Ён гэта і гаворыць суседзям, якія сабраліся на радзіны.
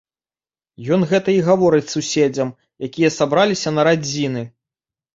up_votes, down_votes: 2, 0